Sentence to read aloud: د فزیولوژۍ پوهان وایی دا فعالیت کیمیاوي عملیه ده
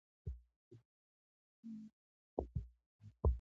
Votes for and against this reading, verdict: 1, 2, rejected